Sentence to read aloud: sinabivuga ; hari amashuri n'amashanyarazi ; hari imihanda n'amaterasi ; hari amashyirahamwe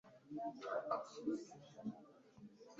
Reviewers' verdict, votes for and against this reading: rejected, 0, 2